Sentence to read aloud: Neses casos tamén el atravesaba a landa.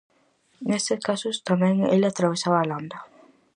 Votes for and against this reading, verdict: 0, 4, rejected